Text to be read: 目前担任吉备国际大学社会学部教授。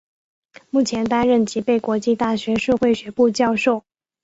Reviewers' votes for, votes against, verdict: 6, 1, accepted